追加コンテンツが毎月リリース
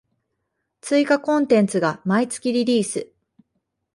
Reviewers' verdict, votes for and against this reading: accepted, 2, 0